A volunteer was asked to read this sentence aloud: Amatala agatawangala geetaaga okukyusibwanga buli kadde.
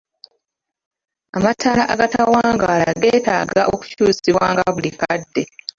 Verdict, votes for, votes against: rejected, 0, 2